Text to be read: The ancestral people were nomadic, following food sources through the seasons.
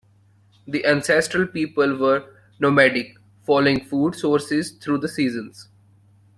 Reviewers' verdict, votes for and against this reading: accepted, 2, 0